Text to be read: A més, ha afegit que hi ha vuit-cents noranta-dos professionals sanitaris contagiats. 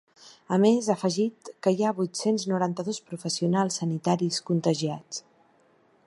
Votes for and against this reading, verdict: 3, 0, accepted